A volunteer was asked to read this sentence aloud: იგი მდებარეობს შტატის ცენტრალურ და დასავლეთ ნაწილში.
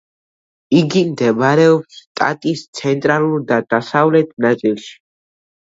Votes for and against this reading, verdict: 2, 0, accepted